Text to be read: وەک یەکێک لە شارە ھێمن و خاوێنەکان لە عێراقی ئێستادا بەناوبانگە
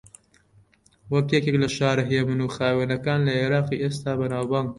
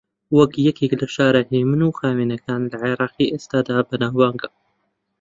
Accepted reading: second